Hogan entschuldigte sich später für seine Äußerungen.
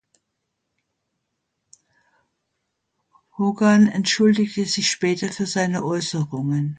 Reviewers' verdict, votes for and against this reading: accepted, 2, 0